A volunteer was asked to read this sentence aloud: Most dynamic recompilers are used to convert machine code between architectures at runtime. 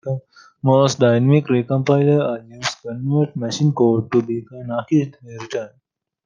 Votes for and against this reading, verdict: 0, 2, rejected